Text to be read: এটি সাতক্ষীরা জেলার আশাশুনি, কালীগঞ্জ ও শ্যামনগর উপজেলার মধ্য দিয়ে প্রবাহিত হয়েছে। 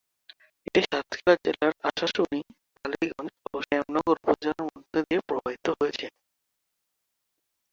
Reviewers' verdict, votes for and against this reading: rejected, 0, 4